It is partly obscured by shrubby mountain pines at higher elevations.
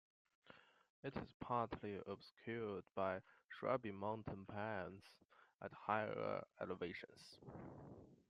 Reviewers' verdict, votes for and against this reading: rejected, 1, 2